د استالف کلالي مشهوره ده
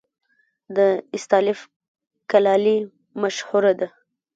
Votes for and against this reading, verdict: 0, 2, rejected